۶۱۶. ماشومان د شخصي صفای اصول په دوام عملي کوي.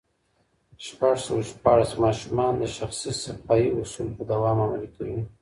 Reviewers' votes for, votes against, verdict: 0, 2, rejected